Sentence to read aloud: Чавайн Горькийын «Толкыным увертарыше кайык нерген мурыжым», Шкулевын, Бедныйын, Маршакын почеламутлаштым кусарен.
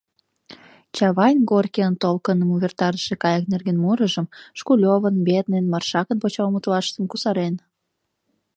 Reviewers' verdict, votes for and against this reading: accepted, 2, 0